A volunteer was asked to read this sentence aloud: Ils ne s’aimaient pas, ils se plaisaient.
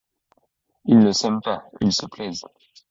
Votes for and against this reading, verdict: 1, 2, rejected